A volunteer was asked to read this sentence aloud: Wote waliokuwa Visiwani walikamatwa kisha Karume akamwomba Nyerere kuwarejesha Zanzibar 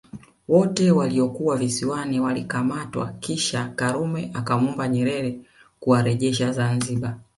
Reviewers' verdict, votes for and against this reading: rejected, 1, 2